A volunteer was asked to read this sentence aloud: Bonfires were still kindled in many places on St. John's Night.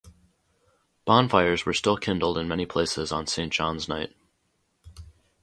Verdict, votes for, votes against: accepted, 2, 0